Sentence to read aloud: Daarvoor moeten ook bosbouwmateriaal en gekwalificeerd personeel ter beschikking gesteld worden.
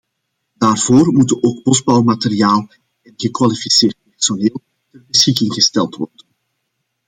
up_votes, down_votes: 1, 2